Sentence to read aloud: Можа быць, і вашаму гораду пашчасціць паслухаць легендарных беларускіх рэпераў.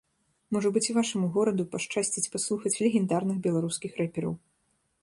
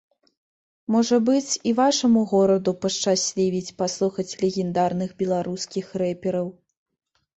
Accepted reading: first